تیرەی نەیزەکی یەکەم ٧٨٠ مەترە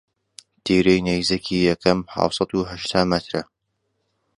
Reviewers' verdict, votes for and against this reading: rejected, 0, 2